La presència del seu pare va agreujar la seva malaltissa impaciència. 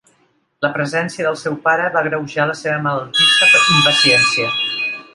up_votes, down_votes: 1, 2